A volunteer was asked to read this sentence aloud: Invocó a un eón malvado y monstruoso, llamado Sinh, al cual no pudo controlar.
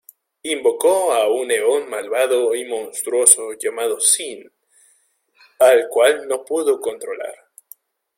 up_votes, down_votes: 0, 2